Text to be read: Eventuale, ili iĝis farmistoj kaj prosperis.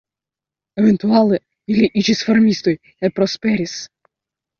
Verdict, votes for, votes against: rejected, 1, 2